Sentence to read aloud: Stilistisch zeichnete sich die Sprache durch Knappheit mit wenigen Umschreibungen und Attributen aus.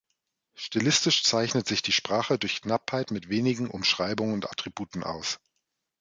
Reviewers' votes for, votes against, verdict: 1, 2, rejected